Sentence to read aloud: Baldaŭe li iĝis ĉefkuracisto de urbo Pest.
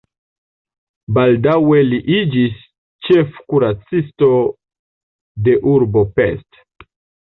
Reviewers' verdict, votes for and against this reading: rejected, 1, 2